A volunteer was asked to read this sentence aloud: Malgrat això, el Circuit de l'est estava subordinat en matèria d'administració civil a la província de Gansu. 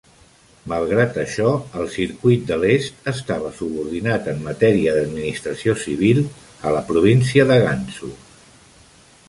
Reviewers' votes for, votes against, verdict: 3, 0, accepted